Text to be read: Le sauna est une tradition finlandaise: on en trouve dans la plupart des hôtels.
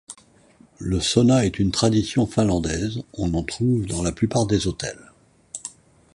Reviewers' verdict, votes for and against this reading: accepted, 2, 0